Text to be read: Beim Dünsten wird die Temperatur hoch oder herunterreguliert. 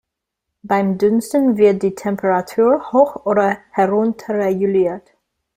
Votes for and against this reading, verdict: 2, 1, accepted